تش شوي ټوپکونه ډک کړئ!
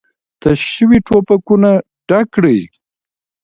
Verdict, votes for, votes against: rejected, 0, 2